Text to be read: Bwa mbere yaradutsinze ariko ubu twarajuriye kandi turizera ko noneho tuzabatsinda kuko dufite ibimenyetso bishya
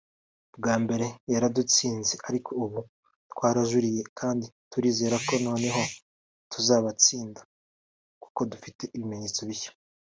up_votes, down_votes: 1, 2